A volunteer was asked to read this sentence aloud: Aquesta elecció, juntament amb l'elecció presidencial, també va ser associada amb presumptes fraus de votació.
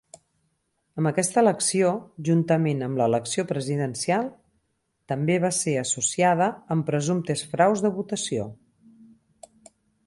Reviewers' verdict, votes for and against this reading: rejected, 2, 4